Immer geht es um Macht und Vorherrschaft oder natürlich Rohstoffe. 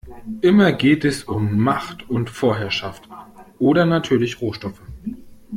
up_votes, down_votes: 2, 0